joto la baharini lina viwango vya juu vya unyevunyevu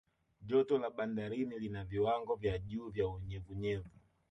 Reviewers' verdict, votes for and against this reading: rejected, 1, 2